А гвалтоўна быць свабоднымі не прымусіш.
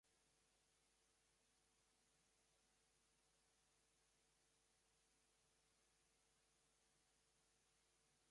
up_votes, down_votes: 1, 2